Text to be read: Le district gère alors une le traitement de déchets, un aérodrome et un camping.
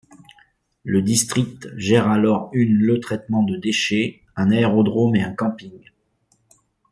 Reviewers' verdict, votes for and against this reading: accepted, 2, 0